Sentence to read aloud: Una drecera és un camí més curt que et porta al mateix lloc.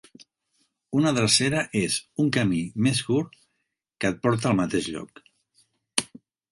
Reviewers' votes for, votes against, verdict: 2, 0, accepted